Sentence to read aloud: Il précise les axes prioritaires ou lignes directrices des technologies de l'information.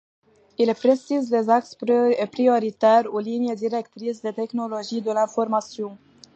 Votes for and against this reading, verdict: 1, 2, rejected